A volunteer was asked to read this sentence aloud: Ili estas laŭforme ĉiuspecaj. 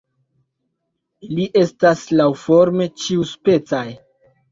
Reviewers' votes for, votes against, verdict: 0, 2, rejected